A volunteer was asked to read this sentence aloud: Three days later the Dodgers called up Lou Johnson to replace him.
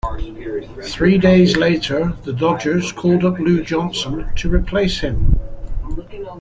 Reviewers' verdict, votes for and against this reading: accepted, 2, 0